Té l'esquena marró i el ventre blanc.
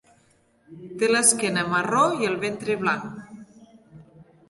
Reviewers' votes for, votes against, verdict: 2, 0, accepted